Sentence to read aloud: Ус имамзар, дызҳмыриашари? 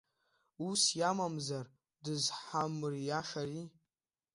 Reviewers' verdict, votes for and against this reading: rejected, 0, 2